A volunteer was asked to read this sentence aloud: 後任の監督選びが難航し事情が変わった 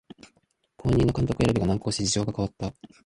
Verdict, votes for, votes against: rejected, 0, 2